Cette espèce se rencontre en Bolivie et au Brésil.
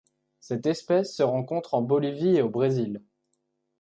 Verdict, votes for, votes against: accepted, 2, 0